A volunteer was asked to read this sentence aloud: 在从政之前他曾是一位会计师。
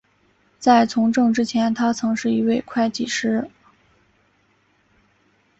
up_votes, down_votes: 3, 1